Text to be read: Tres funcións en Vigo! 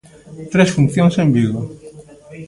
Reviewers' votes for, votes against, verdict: 2, 1, accepted